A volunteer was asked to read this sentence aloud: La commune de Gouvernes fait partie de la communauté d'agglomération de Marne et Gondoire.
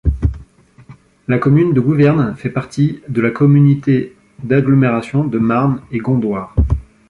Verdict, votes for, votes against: rejected, 1, 2